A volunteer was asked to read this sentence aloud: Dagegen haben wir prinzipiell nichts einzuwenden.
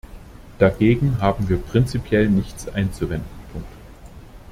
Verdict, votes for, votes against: rejected, 0, 2